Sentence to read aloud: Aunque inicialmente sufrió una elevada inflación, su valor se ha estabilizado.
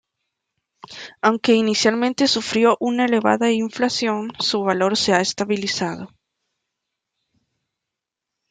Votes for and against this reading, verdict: 2, 0, accepted